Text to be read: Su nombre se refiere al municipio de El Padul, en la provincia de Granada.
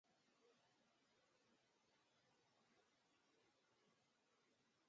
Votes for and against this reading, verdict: 0, 2, rejected